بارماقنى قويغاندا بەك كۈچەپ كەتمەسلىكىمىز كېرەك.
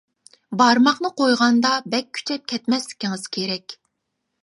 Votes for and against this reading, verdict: 1, 2, rejected